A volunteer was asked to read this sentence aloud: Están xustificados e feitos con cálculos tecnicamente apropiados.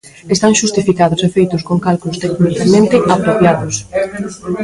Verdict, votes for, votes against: rejected, 1, 2